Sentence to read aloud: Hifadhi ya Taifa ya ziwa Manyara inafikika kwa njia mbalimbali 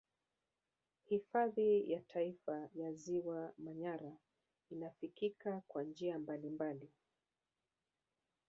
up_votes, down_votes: 1, 2